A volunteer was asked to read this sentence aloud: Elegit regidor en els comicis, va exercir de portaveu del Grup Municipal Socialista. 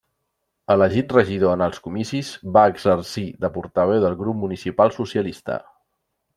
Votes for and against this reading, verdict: 3, 0, accepted